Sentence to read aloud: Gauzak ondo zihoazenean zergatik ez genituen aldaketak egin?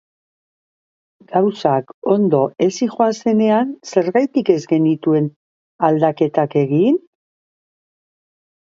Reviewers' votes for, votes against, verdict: 0, 2, rejected